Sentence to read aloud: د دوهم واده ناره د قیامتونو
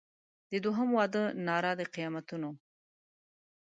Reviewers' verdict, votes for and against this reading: accepted, 2, 0